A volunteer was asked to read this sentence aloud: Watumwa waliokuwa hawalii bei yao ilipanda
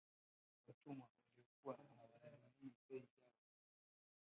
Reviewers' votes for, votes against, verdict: 2, 8, rejected